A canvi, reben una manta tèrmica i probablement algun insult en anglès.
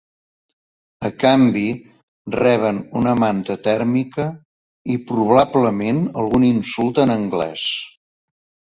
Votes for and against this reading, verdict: 0, 2, rejected